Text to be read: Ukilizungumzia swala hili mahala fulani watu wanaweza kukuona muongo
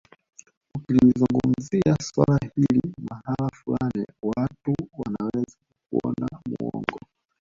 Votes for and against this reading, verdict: 0, 2, rejected